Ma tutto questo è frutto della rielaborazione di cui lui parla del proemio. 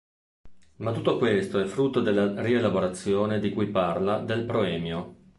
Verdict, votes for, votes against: rejected, 1, 2